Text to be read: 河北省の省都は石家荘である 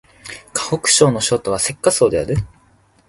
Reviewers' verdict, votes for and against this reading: accepted, 2, 0